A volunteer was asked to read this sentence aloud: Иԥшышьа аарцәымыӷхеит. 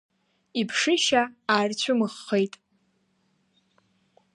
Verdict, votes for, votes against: accepted, 2, 0